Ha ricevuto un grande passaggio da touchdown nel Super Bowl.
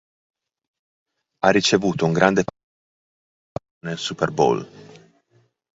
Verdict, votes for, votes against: rejected, 0, 2